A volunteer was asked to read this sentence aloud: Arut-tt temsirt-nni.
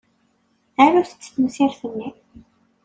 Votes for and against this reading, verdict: 2, 0, accepted